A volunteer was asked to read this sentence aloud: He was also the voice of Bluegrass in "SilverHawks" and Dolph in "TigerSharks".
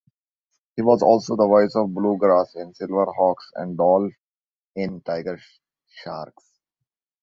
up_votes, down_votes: 0, 2